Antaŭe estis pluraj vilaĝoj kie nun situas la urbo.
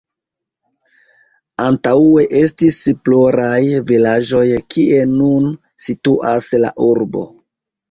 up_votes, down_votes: 1, 2